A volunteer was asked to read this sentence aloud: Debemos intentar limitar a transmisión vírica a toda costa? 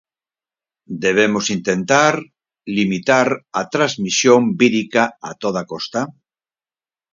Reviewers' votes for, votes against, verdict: 2, 6, rejected